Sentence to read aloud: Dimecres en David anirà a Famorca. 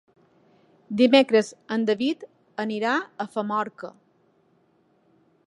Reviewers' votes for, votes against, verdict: 3, 0, accepted